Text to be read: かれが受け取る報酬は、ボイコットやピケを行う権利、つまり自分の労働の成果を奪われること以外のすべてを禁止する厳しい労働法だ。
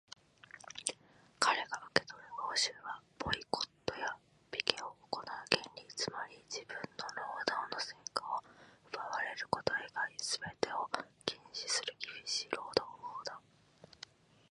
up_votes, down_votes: 1, 2